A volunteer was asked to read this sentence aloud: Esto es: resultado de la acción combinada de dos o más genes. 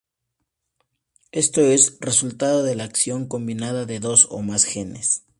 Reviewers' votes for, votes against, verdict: 8, 0, accepted